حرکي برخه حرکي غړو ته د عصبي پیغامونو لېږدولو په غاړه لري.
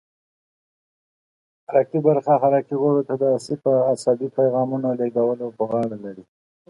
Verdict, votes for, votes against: accepted, 2, 0